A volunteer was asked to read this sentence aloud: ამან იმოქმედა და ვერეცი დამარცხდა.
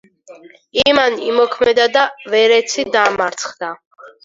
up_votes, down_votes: 0, 4